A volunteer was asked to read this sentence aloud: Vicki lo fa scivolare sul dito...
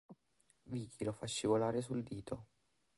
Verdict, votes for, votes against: rejected, 0, 2